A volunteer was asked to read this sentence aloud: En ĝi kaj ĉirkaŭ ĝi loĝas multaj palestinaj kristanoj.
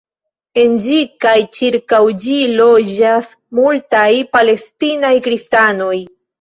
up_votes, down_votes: 0, 2